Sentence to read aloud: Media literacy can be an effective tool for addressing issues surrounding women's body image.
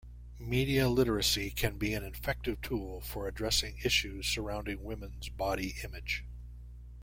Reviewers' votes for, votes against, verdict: 2, 0, accepted